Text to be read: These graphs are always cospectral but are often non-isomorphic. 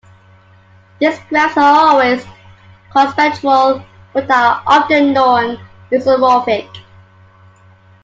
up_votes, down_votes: 2, 1